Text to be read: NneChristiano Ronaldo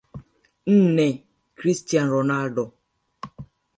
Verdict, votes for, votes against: rejected, 1, 2